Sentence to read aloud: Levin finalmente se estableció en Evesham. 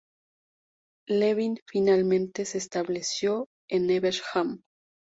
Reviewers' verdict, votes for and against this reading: rejected, 2, 2